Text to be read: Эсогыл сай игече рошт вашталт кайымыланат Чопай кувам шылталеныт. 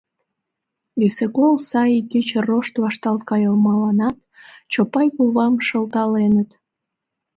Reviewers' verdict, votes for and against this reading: rejected, 1, 2